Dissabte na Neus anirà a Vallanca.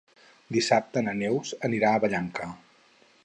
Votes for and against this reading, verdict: 4, 0, accepted